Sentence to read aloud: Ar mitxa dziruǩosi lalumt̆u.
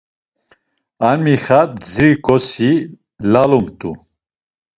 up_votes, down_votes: 0, 2